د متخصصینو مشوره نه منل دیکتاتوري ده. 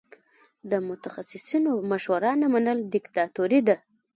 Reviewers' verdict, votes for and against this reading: rejected, 0, 2